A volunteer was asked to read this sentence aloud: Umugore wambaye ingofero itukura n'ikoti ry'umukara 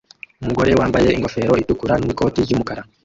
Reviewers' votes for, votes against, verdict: 1, 2, rejected